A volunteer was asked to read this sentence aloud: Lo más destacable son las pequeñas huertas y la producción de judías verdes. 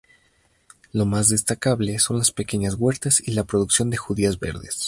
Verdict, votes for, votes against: accepted, 2, 0